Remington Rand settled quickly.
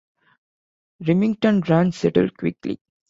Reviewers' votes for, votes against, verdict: 2, 0, accepted